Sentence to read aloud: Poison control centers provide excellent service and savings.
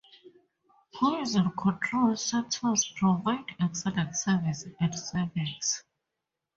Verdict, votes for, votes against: rejected, 2, 2